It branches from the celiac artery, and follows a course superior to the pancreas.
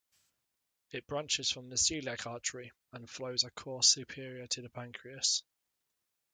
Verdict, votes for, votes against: rejected, 1, 2